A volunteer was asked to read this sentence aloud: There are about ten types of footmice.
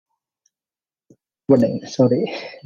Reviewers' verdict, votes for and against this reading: rejected, 0, 2